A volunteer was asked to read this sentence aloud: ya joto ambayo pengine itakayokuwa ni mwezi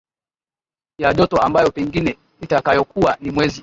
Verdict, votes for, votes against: rejected, 0, 2